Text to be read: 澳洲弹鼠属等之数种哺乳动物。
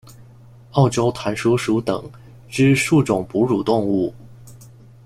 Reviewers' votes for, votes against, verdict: 1, 2, rejected